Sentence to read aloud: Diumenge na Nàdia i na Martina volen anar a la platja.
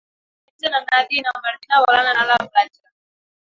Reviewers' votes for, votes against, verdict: 0, 2, rejected